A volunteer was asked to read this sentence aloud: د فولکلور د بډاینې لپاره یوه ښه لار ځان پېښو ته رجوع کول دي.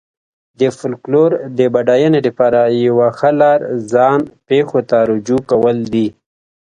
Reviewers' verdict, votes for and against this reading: accepted, 2, 0